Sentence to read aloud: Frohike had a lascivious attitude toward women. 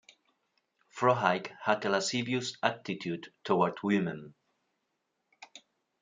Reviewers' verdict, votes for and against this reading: rejected, 1, 2